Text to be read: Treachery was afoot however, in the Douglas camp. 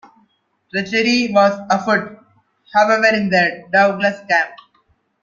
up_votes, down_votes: 2, 1